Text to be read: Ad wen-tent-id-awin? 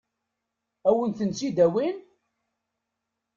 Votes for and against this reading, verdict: 2, 0, accepted